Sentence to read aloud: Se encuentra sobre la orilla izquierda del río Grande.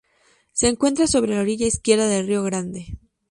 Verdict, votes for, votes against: accepted, 2, 0